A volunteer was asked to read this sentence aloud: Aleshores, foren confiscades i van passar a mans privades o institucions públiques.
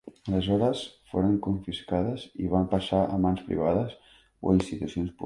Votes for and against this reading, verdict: 1, 2, rejected